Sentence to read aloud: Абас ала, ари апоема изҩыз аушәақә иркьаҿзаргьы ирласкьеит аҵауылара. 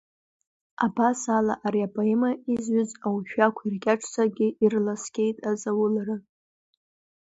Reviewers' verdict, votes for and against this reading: rejected, 0, 2